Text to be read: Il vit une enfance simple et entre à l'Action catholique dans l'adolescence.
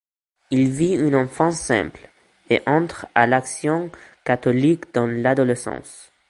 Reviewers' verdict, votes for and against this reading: accepted, 2, 0